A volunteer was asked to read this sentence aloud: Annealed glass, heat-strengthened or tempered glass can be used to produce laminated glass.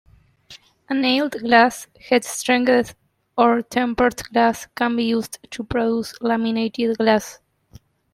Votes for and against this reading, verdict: 0, 2, rejected